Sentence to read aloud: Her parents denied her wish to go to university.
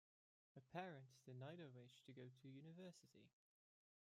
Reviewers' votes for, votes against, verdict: 1, 2, rejected